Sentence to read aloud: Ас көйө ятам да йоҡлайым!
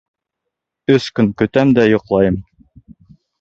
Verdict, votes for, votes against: rejected, 1, 2